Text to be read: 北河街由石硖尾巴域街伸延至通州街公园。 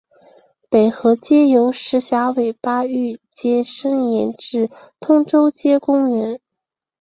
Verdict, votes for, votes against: accepted, 2, 0